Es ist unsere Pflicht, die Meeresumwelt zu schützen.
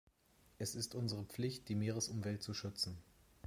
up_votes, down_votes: 2, 0